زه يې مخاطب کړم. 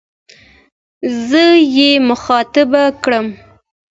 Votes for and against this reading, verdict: 2, 0, accepted